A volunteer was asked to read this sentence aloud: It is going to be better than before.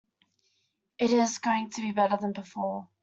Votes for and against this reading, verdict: 2, 0, accepted